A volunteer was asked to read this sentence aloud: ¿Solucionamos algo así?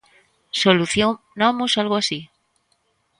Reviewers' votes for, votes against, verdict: 0, 2, rejected